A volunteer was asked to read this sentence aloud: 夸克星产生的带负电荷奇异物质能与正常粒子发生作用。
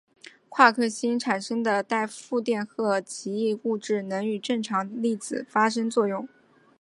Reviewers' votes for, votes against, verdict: 2, 0, accepted